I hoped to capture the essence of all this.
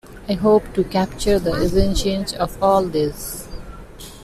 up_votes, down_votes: 0, 2